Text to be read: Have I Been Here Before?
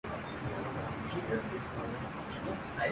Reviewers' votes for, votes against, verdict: 1, 2, rejected